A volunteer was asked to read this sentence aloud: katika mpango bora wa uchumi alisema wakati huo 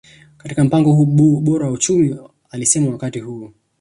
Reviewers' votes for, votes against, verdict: 0, 2, rejected